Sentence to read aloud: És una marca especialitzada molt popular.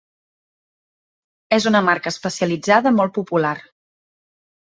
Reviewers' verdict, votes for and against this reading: accepted, 3, 0